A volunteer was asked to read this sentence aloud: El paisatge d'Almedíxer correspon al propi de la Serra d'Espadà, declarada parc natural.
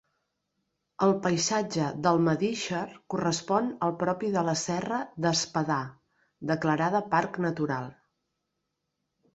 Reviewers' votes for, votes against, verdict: 3, 0, accepted